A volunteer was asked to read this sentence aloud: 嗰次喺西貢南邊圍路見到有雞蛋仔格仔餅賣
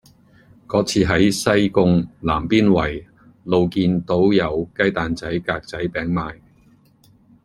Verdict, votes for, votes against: rejected, 1, 2